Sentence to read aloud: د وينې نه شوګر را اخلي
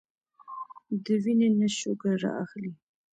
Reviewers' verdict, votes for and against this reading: accepted, 2, 0